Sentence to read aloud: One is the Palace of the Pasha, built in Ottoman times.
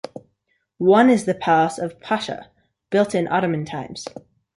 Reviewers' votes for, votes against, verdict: 2, 0, accepted